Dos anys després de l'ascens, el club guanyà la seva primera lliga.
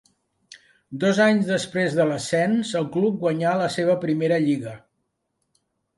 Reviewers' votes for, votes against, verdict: 2, 0, accepted